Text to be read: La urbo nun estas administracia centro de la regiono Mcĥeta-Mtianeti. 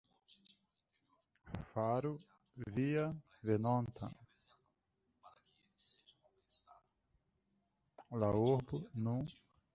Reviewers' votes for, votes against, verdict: 0, 2, rejected